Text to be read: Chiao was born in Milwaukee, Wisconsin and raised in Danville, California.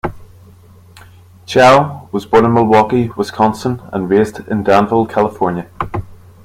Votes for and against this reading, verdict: 2, 0, accepted